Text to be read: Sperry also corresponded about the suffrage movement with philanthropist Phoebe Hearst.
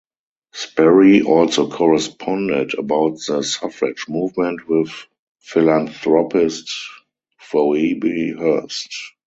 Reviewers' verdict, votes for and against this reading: rejected, 2, 2